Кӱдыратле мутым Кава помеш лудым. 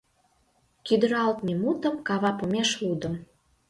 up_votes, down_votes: 1, 2